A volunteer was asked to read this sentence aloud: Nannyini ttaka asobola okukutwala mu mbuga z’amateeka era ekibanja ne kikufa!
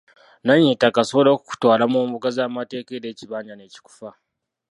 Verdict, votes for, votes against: accepted, 2, 0